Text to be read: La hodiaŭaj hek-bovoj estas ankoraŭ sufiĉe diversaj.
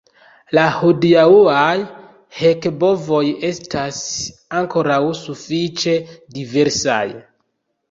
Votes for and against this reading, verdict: 1, 2, rejected